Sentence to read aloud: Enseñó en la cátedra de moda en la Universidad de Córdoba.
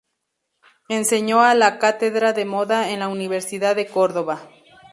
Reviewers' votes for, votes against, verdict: 0, 2, rejected